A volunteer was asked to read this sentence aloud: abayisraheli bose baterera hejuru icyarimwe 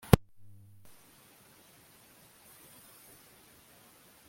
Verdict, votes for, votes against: rejected, 0, 2